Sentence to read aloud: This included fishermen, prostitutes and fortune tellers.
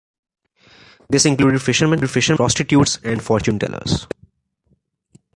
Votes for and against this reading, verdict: 1, 2, rejected